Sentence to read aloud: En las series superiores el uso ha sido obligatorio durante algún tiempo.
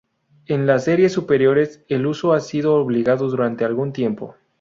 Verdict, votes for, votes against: rejected, 0, 2